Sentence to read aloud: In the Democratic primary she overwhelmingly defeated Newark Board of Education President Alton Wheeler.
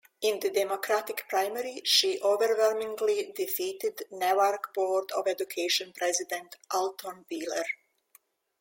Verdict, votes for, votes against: accepted, 2, 0